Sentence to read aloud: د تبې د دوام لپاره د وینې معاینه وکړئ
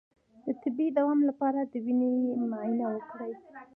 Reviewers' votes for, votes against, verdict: 1, 2, rejected